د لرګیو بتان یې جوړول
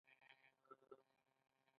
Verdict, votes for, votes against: rejected, 0, 2